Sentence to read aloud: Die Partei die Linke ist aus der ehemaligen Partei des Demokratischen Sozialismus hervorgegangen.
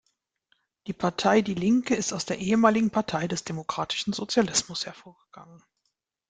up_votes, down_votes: 2, 0